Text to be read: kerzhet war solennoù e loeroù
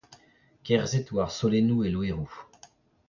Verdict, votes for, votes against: rejected, 0, 2